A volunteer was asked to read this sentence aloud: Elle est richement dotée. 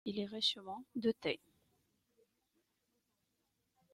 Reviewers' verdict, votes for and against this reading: rejected, 0, 2